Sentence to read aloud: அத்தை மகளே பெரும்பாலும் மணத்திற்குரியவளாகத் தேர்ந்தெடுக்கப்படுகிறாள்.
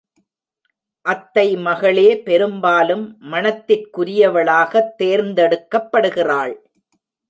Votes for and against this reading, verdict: 2, 0, accepted